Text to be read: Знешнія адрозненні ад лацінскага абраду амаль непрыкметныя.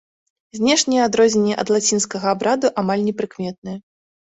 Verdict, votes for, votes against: accepted, 2, 0